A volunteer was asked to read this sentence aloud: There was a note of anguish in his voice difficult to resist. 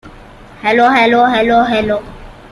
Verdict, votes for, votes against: rejected, 0, 2